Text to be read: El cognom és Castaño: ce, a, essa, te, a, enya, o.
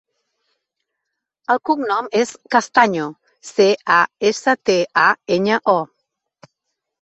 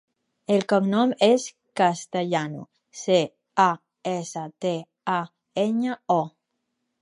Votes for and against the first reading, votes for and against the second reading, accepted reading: 3, 0, 0, 4, first